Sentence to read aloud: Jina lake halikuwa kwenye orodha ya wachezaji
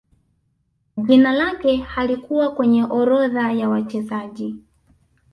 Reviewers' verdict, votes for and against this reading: accepted, 2, 0